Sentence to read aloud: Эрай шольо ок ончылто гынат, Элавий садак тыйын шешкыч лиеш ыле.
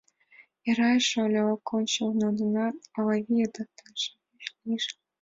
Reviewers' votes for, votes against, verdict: 0, 2, rejected